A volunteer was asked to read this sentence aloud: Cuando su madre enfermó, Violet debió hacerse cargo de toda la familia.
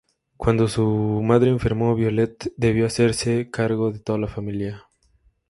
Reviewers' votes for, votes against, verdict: 2, 2, rejected